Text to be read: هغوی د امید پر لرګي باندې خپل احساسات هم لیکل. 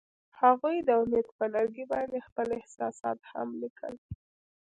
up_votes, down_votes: 1, 2